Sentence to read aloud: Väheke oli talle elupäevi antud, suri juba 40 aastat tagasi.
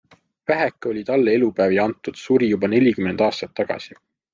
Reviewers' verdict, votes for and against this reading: rejected, 0, 2